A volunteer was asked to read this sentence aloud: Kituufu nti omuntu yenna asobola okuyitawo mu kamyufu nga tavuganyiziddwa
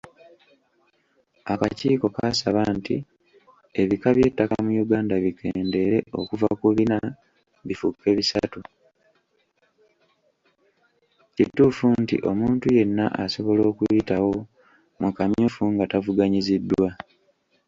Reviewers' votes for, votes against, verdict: 0, 2, rejected